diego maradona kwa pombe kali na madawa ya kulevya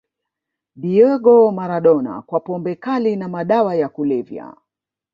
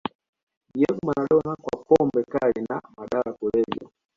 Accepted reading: second